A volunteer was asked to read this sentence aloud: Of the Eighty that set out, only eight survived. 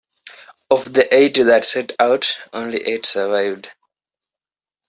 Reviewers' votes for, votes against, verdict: 2, 0, accepted